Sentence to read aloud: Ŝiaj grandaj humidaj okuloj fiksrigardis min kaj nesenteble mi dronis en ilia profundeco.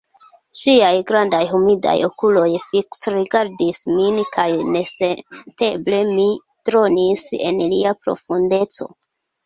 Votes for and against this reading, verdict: 2, 1, accepted